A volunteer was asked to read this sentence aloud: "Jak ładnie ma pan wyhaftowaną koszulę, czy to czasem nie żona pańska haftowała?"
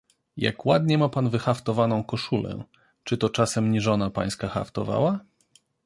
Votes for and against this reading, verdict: 2, 0, accepted